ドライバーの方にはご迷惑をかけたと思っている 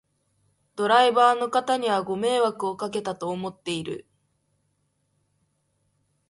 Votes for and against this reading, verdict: 2, 0, accepted